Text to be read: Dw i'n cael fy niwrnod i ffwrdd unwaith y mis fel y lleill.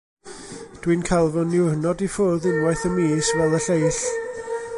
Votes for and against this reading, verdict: 1, 2, rejected